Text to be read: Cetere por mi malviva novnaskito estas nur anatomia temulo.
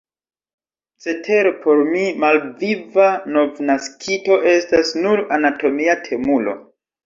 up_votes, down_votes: 2, 0